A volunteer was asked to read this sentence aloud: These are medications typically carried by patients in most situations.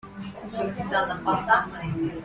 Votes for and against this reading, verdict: 0, 2, rejected